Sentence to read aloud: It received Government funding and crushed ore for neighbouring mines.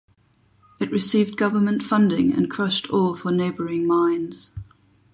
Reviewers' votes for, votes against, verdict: 12, 0, accepted